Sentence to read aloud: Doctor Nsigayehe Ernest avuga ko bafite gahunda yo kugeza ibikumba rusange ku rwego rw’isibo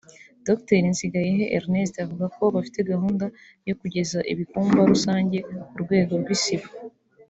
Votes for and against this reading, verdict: 2, 0, accepted